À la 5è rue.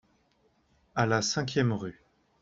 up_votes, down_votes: 0, 2